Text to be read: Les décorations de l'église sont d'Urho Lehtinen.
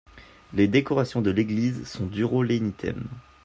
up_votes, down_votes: 1, 3